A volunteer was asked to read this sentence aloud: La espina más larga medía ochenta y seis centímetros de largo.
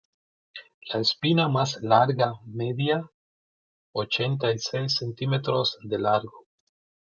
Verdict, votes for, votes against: rejected, 1, 2